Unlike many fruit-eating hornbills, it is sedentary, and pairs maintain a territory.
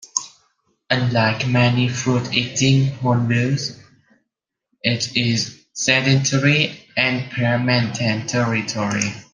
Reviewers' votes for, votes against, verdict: 0, 2, rejected